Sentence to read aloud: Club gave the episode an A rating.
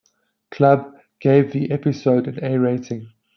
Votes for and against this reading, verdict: 2, 0, accepted